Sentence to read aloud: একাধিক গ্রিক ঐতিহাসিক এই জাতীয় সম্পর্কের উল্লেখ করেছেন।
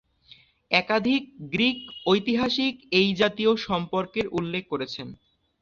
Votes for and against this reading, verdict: 2, 0, accepted